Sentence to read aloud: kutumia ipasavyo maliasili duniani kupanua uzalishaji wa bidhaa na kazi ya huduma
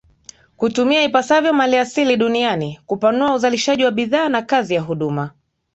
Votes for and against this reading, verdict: 4, 1, accepted